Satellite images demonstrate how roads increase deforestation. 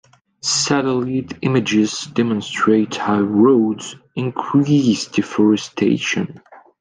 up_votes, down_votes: 1, 2